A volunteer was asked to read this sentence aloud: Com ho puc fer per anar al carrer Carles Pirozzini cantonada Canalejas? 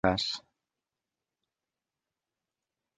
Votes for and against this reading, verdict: 0, 2, rejected